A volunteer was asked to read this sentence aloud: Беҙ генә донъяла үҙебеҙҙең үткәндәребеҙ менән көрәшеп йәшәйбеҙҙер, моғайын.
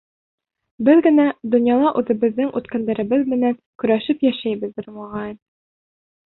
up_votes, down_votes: 1, 2